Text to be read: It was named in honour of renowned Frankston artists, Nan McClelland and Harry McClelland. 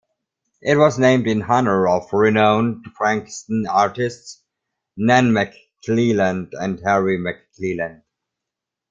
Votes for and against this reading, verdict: 2, 1, accepted